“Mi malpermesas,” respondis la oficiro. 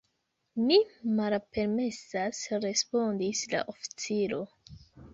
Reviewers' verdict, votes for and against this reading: rejected, 1, 2